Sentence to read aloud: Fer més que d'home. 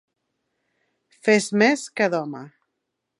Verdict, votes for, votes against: rejected, 1, 2